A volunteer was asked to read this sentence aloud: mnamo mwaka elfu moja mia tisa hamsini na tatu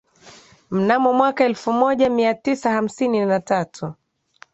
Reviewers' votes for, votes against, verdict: 5, 1, accepted